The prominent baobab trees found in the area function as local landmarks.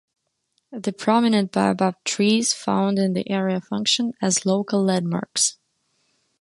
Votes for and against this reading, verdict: 2, 0, accepted